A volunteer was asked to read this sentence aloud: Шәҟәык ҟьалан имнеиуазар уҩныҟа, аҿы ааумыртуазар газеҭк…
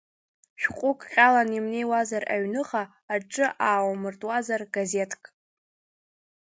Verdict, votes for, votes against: rejected, 0, 2